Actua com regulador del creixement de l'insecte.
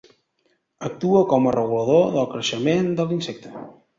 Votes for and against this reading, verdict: 1, 2, rejected